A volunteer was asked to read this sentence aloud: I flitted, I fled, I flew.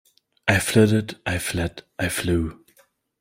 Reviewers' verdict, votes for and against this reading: accepted, 2, 0